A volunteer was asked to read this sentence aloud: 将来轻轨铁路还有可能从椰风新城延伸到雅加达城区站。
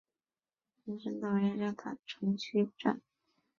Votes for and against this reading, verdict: 3, 6, rejected